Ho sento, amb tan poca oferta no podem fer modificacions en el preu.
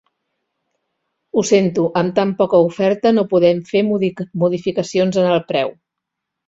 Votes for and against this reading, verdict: 1, 3, rejected